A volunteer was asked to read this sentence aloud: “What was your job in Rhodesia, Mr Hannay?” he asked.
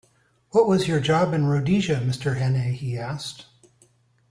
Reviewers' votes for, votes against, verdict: 2, 0, accepted